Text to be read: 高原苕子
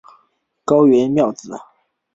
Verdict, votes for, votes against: rejected, 0, 2